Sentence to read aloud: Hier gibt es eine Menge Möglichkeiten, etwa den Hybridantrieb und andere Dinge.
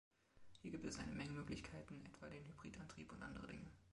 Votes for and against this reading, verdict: 2, 1, accepted